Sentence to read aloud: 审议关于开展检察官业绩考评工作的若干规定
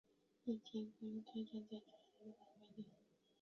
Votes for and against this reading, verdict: 0, 3, rejected